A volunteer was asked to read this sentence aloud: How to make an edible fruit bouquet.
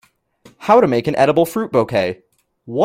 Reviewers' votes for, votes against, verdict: 0, 2, rejected